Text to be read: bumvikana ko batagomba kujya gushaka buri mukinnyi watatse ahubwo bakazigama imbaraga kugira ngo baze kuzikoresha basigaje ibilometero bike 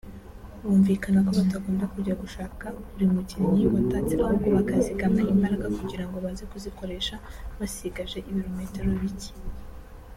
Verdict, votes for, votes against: rejected, 1, 2